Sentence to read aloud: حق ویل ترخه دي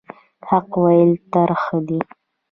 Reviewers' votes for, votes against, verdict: 2, 0, accepted